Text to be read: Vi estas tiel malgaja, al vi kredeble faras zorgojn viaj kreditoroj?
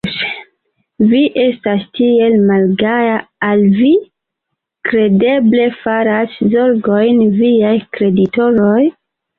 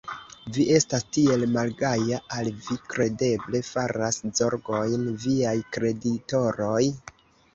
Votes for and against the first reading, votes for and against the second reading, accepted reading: 2, 0, 1, 2, first